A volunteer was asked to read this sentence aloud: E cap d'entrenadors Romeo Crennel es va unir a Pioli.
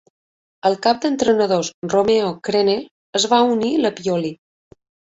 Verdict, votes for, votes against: rejected, 1, 2